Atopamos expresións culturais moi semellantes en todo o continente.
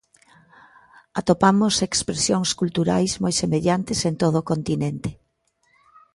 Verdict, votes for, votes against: accepted, 2, 0